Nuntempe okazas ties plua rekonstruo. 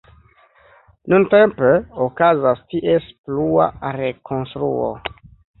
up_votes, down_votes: 0, 2